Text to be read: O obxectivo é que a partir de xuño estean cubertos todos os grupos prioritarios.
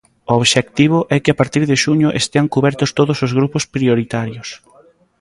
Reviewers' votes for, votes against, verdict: 0, 2, rejected